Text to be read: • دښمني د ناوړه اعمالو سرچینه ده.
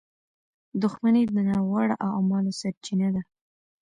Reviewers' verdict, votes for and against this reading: rejected, 1, 2